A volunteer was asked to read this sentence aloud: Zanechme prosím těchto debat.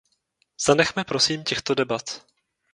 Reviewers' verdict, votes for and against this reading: accepted, 2, 0